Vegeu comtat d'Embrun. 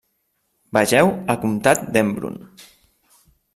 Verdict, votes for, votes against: rejected, 1, 2